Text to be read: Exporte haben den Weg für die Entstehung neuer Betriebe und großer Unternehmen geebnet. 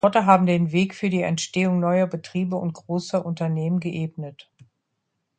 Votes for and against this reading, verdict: 0, 2, rejected